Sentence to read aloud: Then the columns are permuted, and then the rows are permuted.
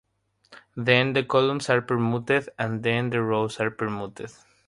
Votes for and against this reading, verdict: 3, 0, accepted